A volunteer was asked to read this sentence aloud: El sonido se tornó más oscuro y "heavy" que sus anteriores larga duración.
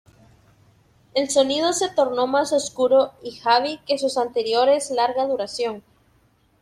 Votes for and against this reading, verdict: 0, 2, rejected